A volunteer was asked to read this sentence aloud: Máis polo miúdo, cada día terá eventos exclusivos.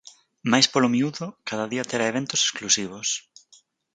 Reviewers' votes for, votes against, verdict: 6, 0, accepted